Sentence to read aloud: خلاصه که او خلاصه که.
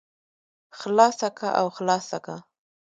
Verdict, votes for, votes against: rejected, 0, 2